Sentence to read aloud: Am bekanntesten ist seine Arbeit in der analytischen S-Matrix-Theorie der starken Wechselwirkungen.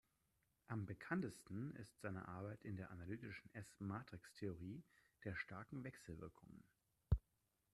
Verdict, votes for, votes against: rejected, 1, 2